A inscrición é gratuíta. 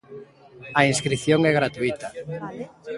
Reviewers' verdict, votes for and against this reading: rejected, 1, 2